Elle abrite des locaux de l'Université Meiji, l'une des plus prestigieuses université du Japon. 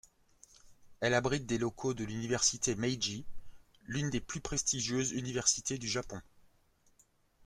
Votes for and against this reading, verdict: 2, 0, accepted